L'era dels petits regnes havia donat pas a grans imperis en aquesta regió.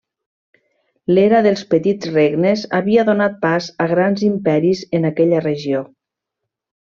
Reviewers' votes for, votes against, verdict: 1, 2, rejected